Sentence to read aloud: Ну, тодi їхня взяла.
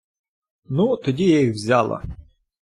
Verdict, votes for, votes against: rejected, 0, 2